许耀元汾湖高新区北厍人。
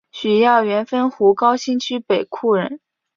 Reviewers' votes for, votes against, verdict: 3, 0, accepted